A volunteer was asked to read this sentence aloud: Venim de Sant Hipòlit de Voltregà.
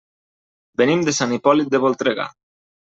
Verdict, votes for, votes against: accepted, 3, 0